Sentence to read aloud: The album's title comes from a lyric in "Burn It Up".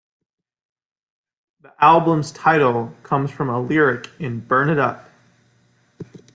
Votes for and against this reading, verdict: 2, 1, accepted